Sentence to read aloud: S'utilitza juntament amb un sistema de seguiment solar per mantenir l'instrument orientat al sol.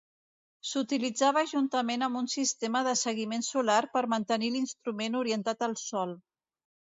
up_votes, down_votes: 1, 2